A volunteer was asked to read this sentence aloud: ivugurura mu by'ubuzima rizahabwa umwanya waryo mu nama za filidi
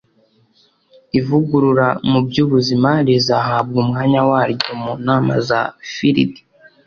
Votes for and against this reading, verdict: 2, 0, accepted